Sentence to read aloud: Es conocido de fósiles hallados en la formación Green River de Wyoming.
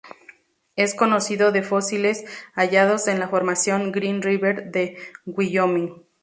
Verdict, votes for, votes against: accepted, 2, 0